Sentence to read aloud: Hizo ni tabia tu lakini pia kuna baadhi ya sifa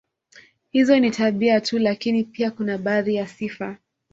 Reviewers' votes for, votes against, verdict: 2, 0, accepted